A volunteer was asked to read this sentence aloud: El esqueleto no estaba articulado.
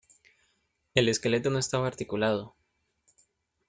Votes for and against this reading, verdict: 2, 0, accepted